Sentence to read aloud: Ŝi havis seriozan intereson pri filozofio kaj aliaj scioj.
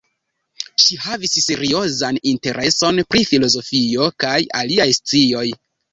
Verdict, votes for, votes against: accepted, 2, 0